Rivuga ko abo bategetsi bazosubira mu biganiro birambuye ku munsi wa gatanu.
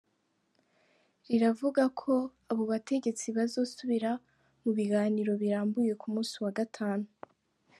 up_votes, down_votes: 1, 2